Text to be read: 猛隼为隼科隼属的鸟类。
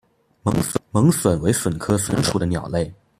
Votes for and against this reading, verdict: 0, 2, rejected